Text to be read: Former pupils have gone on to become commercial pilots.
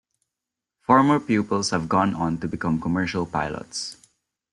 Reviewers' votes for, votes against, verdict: 2, 0, accepted